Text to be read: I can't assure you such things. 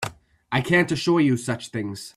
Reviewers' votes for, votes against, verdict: 2, 0, accepted